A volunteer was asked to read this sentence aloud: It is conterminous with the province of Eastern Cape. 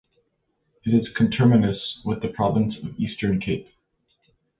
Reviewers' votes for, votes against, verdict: 0, 2, rejected